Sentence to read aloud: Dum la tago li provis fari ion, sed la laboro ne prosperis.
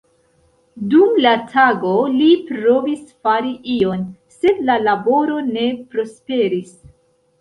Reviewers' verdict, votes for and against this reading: accepted, 2, 0